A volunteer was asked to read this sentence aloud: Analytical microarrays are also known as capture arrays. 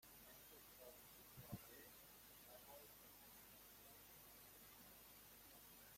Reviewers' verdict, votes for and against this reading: rejected, 0, 2